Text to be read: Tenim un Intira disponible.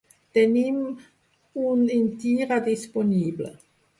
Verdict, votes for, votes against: rejected, 0, 2